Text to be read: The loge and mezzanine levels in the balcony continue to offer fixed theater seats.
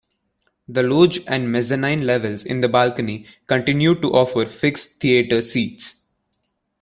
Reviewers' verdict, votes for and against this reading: accepted, 2, 0